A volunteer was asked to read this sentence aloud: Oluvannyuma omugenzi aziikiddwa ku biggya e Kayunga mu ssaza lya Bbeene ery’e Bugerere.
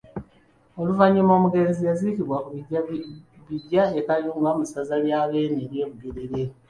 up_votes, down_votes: 1, 2